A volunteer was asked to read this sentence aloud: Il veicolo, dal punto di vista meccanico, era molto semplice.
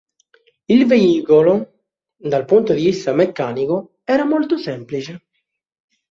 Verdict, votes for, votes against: accepted, 2, 0